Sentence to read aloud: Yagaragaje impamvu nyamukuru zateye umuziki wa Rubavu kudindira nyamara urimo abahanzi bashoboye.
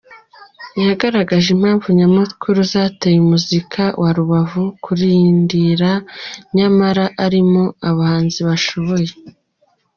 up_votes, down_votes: 0, 2